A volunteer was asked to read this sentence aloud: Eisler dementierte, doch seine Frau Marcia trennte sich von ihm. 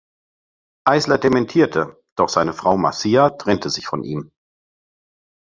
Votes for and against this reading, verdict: 2, 0, accepted